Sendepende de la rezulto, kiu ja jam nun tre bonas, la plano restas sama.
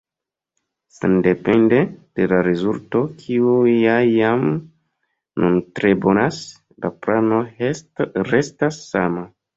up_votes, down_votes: 0, 2